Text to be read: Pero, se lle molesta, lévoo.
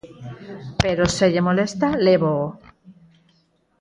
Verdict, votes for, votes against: accepted, 4, 2